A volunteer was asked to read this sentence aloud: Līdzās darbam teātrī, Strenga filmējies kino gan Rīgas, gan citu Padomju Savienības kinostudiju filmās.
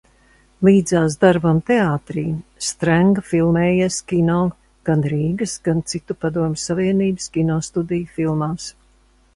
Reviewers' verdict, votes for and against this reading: accepted, 2, 0